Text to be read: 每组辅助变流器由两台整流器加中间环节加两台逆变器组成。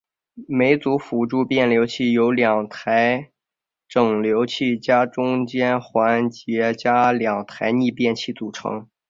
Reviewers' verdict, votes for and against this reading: accepted, 5, 0